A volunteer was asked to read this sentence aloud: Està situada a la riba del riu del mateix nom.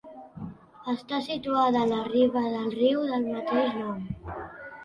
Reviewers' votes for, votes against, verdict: 2, 0, accepted